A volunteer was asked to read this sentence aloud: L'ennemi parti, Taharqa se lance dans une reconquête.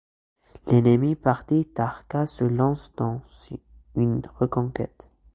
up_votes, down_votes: 1, 3